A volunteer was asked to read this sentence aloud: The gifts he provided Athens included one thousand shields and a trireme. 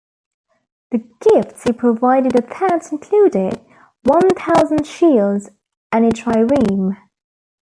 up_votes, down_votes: 1, 2